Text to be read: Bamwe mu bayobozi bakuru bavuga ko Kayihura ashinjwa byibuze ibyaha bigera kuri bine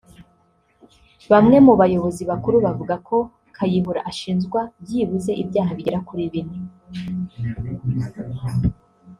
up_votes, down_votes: 3, 1